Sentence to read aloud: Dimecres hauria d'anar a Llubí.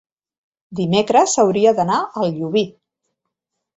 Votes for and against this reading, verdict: 2, 0, accepted